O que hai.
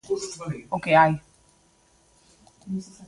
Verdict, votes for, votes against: accepted, 2, 0